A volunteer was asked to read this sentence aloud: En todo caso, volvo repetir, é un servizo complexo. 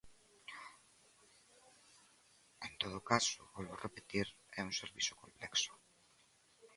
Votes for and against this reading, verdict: 1, 2, rejected